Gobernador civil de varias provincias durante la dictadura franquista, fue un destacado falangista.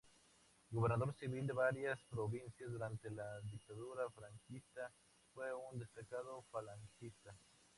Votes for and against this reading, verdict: 0, 2, rejected